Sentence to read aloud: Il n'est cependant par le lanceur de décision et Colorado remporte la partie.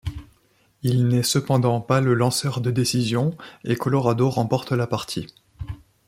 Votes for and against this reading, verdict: 2, 3, rejected